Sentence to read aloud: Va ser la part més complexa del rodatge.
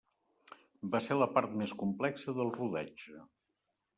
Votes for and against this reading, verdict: 3, 0, accepted